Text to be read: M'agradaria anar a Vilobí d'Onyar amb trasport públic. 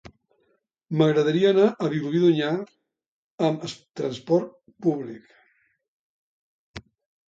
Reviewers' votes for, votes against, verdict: 0, 2, rejected